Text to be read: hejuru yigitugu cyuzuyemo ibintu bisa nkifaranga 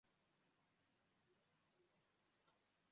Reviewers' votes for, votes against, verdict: 0, 2, rejected